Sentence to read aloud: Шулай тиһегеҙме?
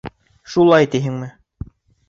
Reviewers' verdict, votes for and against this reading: rejected, 0, 2